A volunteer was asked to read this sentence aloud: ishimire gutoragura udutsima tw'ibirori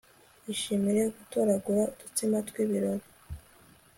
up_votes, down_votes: 4, 0